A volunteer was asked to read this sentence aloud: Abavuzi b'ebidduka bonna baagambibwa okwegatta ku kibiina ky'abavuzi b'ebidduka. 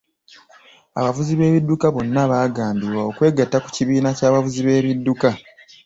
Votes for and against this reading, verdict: 2, 0, accepted